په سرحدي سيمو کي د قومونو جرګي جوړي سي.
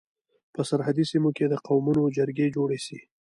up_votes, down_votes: 1, 2